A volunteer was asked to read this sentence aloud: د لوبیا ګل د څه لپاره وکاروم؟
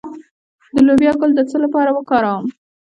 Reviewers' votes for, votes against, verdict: 2, 0, accepted